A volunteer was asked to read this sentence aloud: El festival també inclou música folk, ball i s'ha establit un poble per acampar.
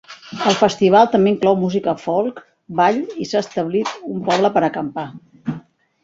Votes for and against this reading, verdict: 4, 1, accepted